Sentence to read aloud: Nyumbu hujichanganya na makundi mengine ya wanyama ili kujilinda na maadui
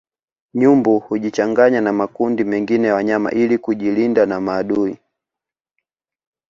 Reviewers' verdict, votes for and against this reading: accepted, 2, 0